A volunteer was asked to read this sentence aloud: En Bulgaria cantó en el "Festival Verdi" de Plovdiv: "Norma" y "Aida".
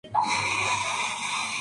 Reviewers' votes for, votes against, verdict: 0, 2, rejected